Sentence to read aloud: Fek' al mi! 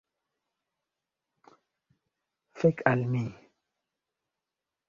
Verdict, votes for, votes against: accepted, 2, 0